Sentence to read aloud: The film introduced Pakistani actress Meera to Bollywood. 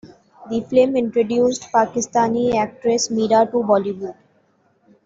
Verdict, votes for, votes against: accepted, 2, 0